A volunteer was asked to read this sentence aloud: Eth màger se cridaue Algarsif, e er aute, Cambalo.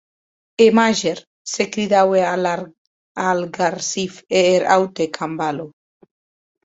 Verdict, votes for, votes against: rejected, 0, 2